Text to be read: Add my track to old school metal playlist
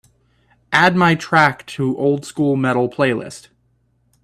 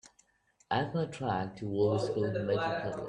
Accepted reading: first